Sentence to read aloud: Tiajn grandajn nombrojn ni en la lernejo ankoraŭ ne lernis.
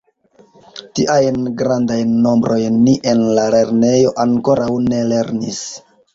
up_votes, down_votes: 2, 0